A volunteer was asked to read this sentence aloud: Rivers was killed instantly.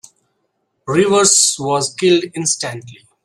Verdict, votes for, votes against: accepted, 2, 0